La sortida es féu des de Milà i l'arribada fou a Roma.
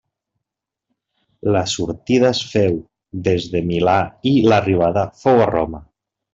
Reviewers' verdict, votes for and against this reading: rejected, 0, 2